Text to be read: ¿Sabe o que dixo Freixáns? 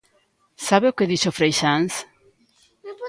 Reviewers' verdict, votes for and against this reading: accepted, 2, 0